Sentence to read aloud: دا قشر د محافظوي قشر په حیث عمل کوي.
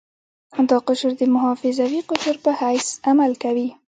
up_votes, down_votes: 2, 0